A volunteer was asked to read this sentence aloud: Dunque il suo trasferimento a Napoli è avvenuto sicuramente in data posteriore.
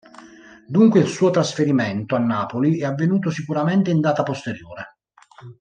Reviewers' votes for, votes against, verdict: 2, 0, accepted